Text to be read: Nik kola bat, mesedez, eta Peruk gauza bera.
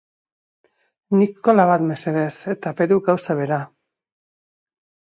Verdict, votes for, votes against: accepted, 4, 0